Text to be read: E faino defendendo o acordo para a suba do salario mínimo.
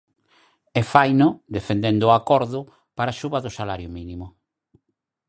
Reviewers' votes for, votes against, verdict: 4, 0, accepted